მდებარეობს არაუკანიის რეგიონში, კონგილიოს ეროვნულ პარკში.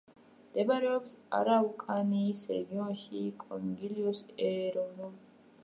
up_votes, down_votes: 0, 2